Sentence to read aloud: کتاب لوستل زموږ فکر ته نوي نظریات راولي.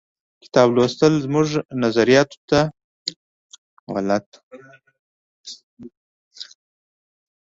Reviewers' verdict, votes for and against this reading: rejected, 0, 2